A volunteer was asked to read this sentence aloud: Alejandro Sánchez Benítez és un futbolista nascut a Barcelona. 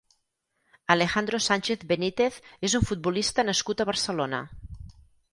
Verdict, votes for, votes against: accepted, 6, 2